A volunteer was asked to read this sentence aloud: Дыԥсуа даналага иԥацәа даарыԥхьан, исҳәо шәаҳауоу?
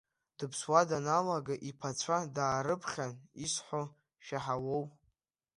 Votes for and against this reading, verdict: 2, 0, accepted